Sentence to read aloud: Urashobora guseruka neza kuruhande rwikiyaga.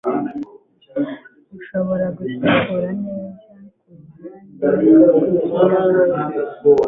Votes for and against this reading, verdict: 1, 2, rejected